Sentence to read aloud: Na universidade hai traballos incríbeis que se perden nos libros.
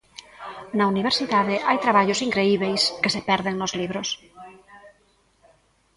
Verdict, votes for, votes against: rejected, 1, 2